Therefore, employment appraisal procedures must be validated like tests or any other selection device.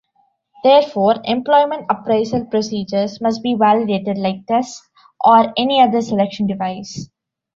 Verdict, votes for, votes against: rejected, 1, 2